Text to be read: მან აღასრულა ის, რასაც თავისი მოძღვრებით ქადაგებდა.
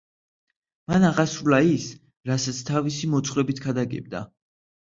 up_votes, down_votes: 2, 0